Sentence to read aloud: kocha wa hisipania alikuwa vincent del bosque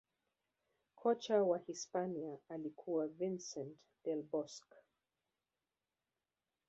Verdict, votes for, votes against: accepted, 2, 0